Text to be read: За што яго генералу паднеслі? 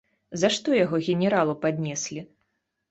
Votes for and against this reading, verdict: 2, 0, accepted